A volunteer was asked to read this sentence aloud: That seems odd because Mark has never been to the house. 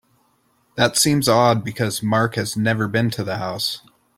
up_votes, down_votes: 2, 0